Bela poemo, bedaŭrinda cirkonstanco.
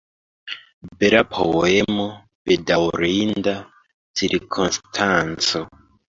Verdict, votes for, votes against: accepted, 2, 1